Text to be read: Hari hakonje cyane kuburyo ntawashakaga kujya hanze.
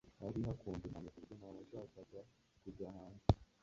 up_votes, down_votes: 0, 2